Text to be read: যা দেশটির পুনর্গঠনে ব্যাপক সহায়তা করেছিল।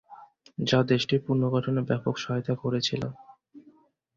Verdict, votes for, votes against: accepted, 2, 0